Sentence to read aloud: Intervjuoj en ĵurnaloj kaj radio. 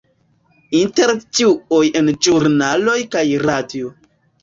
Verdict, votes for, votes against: rejected, 0, 2